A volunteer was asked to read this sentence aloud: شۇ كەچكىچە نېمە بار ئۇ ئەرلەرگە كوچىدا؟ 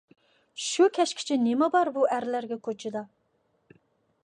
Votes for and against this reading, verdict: 2, 0, accepted